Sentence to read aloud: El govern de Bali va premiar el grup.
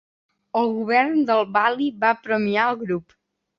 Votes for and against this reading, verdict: 0, 2, rejected